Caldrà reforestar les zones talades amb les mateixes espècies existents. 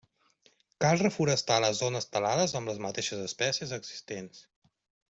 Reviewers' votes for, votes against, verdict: 0, 2, rejected